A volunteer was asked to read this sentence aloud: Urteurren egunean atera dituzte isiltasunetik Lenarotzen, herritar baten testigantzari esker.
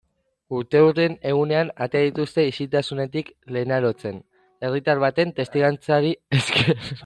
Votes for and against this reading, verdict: 0, 2, rejected